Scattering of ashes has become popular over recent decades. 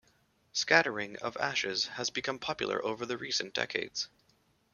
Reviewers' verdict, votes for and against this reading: rejected, 0, 2